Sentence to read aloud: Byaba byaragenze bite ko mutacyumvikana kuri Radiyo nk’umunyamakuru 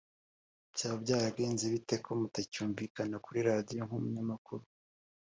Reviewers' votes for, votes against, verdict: 2, 0, accepted